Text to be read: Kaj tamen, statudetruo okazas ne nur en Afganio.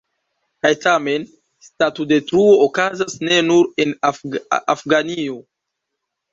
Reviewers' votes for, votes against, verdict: 1, 2, rejected